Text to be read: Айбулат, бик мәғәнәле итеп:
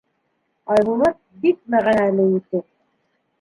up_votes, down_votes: 0, 2